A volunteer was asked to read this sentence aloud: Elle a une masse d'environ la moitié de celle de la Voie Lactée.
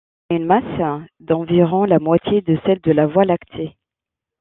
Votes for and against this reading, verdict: 0, 2, rejected